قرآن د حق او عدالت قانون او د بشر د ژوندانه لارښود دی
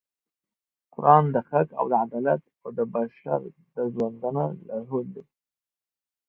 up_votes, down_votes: 0, 2